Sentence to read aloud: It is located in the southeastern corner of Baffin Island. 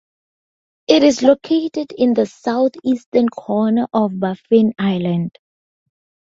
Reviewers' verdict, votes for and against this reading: accepted, 2, 0